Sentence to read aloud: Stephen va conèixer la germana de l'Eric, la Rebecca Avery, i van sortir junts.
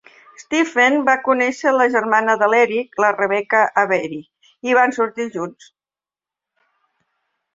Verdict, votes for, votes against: accepted, 2, 0